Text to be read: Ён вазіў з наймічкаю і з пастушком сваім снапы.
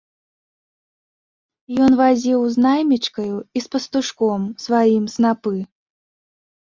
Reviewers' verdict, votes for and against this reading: accepted, 2, 0